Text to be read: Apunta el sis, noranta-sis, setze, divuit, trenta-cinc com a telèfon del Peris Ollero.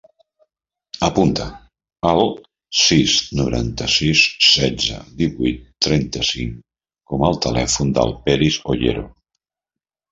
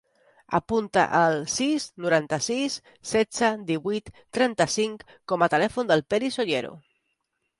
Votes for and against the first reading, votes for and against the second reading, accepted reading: 1, 2, 3, 0, second